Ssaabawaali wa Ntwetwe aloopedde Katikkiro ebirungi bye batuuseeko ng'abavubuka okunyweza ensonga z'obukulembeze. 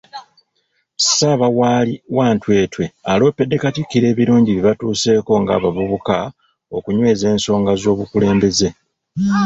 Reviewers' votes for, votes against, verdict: 0, 2, rejected